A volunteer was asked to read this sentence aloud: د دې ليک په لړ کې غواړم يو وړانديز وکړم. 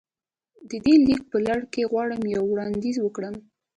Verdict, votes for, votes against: accepted, 2, 0